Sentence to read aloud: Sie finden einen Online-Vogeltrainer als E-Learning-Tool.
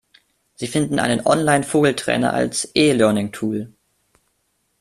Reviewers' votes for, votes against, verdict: 2, 0, accepted